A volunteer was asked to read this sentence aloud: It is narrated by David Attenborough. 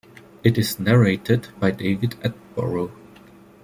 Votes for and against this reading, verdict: 0, 2, rejected